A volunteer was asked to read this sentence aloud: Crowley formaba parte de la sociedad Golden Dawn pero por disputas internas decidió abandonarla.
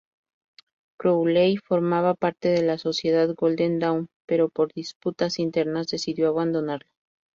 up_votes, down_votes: 0, 2